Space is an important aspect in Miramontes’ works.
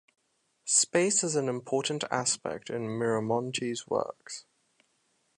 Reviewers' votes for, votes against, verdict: 2, 0, accepted